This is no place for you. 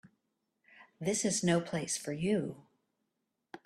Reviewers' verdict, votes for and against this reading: accepted, 2, 0